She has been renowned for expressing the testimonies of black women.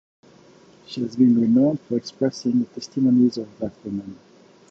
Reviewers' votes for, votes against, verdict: 1, 2, rejected